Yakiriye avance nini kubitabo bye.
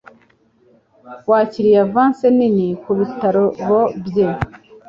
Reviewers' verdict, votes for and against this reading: rejected, 1, 2